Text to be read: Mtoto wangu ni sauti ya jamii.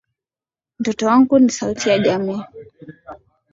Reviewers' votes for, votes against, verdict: 11, 1, accepted